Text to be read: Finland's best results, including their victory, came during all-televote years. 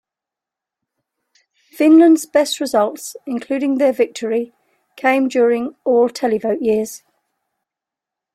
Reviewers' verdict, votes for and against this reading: accepted, 2, 0